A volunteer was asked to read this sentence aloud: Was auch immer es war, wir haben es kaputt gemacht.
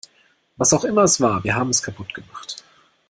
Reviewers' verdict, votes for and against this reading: accepted, 2, 0